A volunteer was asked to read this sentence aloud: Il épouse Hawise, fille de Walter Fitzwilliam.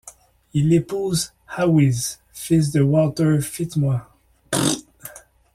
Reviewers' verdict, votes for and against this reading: rejected, 1, 2